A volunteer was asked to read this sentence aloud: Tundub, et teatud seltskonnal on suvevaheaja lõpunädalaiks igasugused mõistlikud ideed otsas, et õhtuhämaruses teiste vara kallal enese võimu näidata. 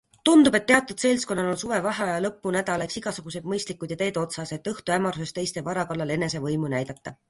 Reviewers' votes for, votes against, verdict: 2, 0, accepted